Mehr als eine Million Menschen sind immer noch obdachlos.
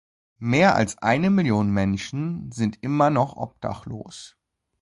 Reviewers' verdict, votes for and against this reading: accepted, 2, 0